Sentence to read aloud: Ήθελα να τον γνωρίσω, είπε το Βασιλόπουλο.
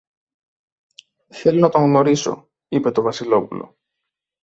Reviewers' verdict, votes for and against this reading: rejected, 0, 2